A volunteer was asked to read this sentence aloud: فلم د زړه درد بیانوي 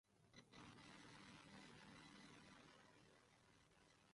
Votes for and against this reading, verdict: 0, 2, rejected